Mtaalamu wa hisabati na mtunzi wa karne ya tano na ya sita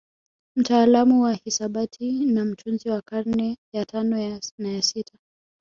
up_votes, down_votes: 6, 1